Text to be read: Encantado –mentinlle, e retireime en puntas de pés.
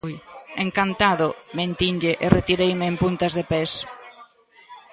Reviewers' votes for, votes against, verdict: 0, 2, rejected